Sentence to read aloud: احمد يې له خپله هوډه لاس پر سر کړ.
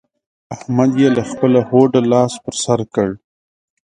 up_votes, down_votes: 0, 2